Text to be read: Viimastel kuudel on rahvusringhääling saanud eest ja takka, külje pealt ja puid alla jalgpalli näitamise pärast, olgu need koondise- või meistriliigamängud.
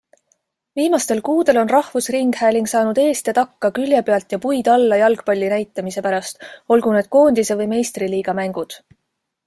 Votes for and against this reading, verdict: 2, 0, accepted